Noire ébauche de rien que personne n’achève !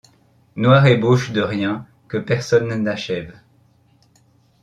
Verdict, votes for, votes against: accepted, 2, 0